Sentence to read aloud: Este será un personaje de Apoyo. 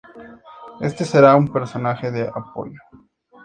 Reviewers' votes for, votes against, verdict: 4, 0, accepted